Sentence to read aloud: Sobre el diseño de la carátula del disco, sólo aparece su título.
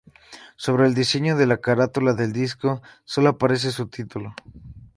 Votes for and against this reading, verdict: 4, 0, accepted